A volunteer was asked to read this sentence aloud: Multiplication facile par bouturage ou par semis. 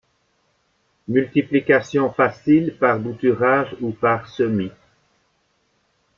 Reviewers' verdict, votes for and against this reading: accepted, 2, 0